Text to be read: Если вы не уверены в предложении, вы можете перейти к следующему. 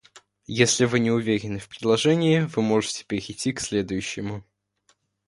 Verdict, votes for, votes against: accepted, 2, 1